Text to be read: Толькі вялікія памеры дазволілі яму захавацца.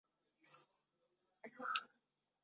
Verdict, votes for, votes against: rejected, 0, 2